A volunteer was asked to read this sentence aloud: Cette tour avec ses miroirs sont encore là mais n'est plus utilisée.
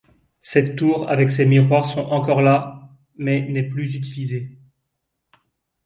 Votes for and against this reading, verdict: 2, 0, accepted